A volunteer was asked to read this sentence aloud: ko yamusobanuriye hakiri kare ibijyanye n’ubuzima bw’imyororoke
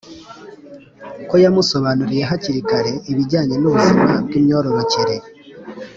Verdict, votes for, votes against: accepted, 2, 0